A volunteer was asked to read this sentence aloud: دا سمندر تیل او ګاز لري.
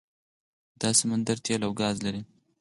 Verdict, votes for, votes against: rejected, 0, 4